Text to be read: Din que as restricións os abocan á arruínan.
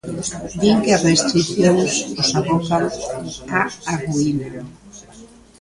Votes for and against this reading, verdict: 0, 2, rejected